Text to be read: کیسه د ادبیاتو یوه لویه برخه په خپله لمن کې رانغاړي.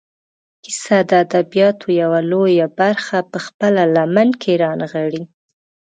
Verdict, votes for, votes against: accepted, 2, 0